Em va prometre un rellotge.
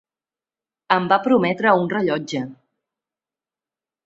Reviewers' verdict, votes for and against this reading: accepted, 3, 0